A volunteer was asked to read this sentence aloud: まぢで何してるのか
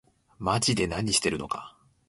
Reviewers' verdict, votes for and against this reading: accepted, 2, 0